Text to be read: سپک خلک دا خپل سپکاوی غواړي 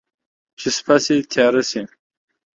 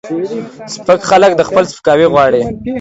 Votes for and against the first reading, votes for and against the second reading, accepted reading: 0, 2, 2, 1, second